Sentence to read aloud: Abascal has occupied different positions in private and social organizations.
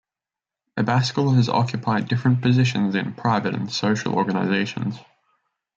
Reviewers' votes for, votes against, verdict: 0, 2, rejected